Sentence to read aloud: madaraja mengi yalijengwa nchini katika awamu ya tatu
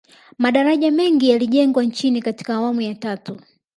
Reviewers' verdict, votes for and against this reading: accepted, 2, 0